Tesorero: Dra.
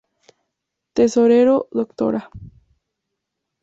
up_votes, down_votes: 8, 0